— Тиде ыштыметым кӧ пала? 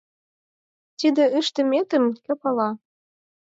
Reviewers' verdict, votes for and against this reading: rejected, 0, 4